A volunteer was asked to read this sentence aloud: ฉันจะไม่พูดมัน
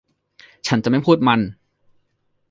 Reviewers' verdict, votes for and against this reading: accepted, 2, 0